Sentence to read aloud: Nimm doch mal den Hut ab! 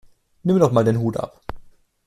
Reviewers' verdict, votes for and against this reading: accepted, 2, 0